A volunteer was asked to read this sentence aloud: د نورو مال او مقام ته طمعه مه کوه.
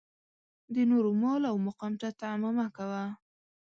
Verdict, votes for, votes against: accepted, 2, 0